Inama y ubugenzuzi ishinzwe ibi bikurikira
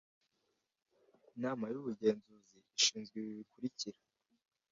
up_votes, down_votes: 2, 0